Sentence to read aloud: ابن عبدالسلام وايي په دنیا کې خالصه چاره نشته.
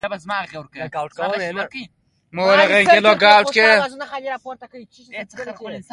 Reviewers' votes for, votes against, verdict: 0, 2, rejected